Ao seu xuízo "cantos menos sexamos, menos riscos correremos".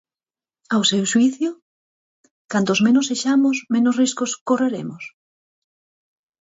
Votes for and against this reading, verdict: 2, 4, rejected